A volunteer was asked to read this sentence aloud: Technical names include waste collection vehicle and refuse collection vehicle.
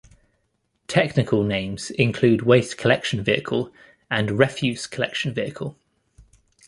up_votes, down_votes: 2, 0